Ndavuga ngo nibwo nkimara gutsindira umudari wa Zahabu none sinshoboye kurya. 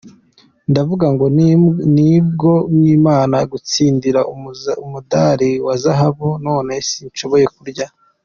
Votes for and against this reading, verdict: 1, 2, rejected